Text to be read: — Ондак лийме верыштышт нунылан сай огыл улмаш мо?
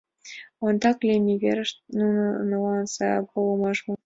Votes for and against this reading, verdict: 0, 2, rejected